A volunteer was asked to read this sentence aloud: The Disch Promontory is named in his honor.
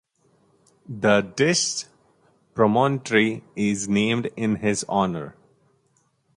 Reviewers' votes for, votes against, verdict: 0, 2, rejected